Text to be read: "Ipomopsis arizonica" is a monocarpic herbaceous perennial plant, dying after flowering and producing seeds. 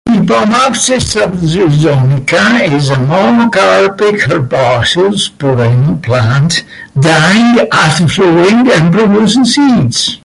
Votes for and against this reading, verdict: 0, 2, rejected